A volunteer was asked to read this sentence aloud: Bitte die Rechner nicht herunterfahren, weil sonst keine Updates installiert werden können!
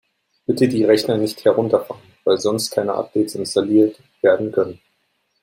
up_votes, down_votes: 1, 2